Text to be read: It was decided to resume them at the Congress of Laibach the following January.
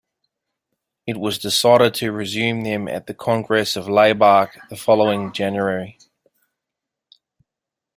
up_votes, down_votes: 2, 0